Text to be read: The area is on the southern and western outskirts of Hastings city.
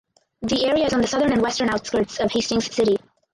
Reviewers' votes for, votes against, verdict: 0, 4, rejected